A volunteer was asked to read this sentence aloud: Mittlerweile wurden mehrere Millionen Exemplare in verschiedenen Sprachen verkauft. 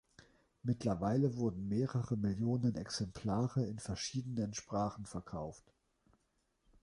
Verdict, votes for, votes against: accepted, 2, 1